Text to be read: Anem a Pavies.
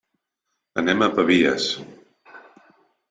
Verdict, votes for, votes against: accepted, 3, 0